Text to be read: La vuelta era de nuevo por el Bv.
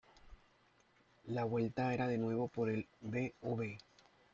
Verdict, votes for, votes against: accepted, 2, 0